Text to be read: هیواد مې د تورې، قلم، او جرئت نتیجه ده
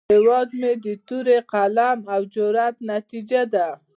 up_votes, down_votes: 2, 0